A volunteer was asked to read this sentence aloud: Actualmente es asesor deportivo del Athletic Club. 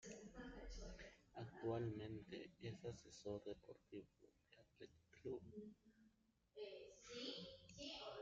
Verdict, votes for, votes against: rejected, 0, 2